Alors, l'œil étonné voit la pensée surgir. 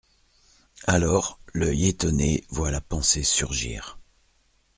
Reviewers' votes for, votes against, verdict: 2, 0, accepted